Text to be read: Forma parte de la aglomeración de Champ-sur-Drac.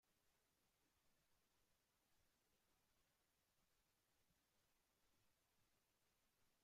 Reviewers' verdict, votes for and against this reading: rejected, 0, 3